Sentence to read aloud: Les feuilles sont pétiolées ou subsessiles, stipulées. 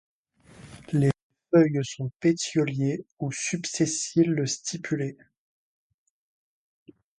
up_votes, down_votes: 1, 2